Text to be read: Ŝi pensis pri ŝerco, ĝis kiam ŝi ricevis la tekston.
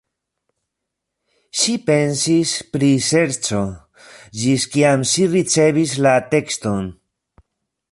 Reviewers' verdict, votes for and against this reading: rejected, 0, 2